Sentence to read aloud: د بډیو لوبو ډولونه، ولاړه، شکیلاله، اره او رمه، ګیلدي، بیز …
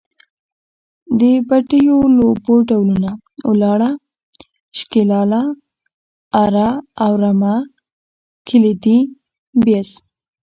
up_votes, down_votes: 0, 2